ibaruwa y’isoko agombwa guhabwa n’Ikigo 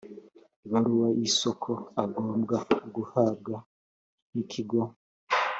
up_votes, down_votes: 2, 0